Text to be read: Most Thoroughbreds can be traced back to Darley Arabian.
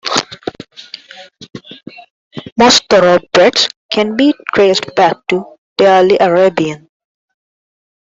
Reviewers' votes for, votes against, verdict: 2, 1, accepted